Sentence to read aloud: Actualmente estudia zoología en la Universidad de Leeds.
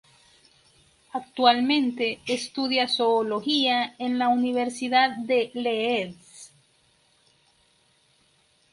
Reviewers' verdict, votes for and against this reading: rejected, 0, 2